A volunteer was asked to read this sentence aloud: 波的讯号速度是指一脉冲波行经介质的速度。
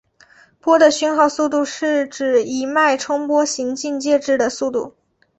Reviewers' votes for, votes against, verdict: 1, 2, rejected